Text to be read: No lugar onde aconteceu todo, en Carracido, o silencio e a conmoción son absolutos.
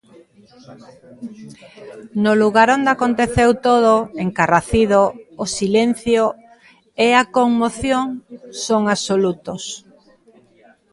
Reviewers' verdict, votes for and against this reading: accepted, 2, 0